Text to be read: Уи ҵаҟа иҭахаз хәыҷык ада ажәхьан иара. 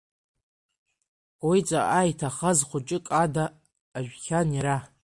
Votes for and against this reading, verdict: 2, 1, accepted